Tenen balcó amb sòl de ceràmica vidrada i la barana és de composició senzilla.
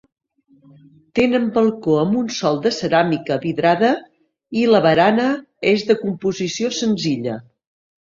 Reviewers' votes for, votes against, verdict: 1, 2, rejected